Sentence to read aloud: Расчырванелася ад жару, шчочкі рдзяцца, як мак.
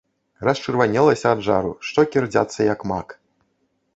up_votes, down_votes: 1, 2